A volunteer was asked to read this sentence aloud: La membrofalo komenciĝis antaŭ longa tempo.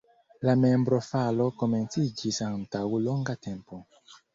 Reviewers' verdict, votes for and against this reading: accepted, 2, 0